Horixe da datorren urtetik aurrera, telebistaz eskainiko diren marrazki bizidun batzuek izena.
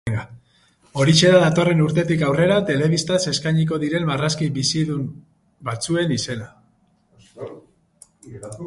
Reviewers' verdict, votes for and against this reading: rejected, 0, 4